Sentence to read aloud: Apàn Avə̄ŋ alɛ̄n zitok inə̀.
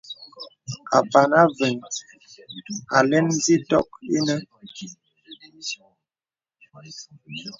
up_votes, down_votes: 2, 0